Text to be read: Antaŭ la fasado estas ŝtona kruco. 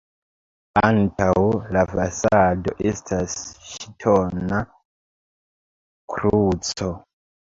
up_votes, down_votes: 0, 2